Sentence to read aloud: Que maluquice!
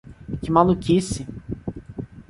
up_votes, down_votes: 2, 0